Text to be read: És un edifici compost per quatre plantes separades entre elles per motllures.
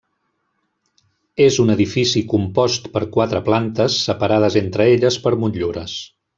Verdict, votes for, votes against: rejected, 1, 2